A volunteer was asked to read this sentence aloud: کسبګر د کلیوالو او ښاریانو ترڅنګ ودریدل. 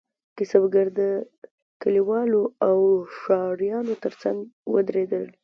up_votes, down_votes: 2, 0